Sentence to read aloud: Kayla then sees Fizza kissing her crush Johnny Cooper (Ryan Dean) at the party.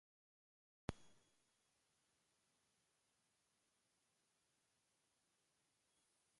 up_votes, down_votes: 0, 2